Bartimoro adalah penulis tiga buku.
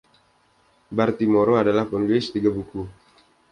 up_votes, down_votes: 2, 0